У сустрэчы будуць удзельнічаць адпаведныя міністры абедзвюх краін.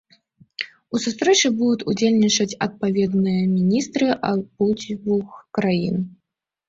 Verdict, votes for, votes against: rejected, 0, 2